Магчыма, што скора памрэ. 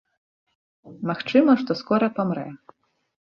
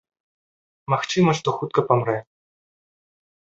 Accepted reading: first